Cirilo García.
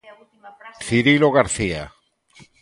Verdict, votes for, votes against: rejected, 1, 2